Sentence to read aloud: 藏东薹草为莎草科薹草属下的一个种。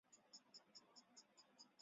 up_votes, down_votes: 0, 2